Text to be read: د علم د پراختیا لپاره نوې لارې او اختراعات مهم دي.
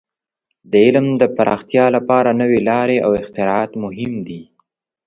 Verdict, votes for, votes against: accepted, 3, 0